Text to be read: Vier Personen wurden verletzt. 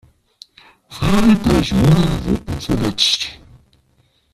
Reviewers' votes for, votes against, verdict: 0, 2, rejected